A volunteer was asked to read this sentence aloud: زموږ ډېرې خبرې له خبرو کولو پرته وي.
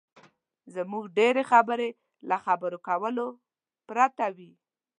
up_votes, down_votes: 2, 0